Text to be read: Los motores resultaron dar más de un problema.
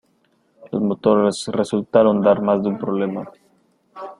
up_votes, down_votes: 1, 2